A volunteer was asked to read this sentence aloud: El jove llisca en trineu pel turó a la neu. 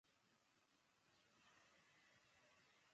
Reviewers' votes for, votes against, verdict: 0, 2, rejected